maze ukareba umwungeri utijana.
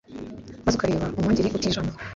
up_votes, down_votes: 1, 2